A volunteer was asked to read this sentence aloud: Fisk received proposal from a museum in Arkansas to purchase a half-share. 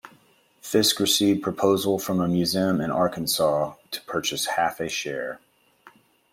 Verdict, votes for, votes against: rejected, 0, 2